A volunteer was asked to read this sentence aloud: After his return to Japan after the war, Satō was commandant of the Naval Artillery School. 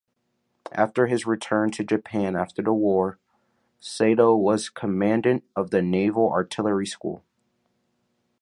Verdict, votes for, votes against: rejected, 0, 2